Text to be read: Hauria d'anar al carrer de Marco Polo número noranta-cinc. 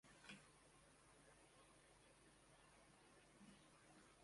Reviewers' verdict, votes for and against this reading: rejected, 0, 2